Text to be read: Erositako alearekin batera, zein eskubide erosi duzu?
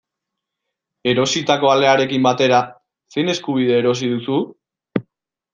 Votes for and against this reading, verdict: 2, 0, accepted